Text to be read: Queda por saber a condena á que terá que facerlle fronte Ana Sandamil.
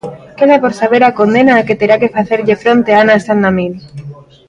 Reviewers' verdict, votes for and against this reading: rejected, 1, 2